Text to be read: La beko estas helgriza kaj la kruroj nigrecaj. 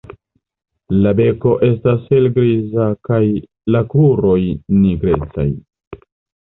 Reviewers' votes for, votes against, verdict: 1, 2, rejected